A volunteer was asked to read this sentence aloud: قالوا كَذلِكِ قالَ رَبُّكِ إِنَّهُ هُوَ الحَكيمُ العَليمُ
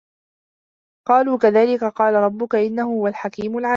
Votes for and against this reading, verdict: 1, 2, rejected